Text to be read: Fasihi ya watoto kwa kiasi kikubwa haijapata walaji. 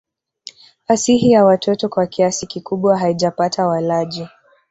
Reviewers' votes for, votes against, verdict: 1, 2, rejected